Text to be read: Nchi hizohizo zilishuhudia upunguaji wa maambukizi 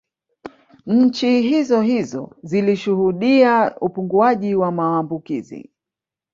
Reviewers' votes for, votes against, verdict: 3, 0, accepted